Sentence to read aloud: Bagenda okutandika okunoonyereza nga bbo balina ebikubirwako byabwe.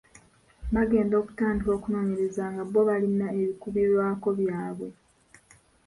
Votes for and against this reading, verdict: 2, 0, accepted